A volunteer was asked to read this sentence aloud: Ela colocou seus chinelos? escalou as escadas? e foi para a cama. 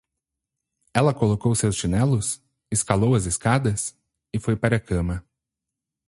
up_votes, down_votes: 0, 2